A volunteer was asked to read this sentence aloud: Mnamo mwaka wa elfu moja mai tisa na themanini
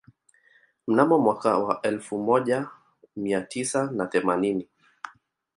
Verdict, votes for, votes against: rejected, 1, 2